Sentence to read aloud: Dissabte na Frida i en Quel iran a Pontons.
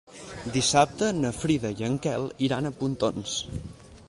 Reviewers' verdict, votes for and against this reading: accepted, 4, 0